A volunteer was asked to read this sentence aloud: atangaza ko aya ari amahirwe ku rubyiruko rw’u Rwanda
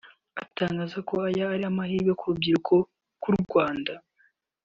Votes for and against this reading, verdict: 2, 0, accepted